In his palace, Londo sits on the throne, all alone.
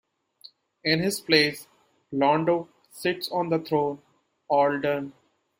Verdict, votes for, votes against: rejected, 0, 2